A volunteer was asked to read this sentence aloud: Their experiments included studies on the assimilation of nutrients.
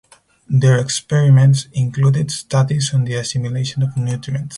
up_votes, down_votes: 4, 0